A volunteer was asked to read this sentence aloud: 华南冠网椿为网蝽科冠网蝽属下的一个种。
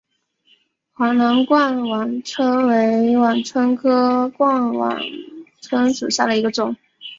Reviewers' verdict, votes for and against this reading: rejected, 1, 2